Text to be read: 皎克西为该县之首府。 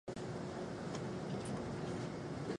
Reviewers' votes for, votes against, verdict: 0, 3, rejected